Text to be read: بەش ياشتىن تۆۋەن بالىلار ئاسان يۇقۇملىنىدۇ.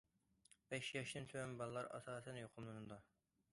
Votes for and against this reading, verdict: 1, 2, rejected